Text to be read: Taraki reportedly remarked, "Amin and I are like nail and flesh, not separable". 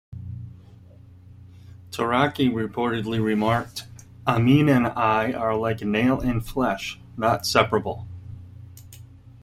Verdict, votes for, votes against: accepted, 2, 1